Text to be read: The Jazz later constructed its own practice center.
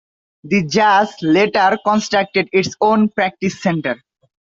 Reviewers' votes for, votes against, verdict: 2, 0, accepted